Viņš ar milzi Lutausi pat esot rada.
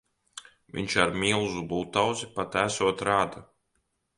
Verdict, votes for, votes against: rejected, 0, 2